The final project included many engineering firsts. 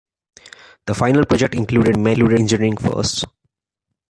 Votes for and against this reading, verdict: 1, 2, rejected